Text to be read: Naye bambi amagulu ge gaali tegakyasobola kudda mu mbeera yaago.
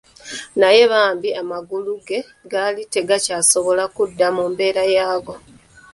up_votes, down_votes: 2, 1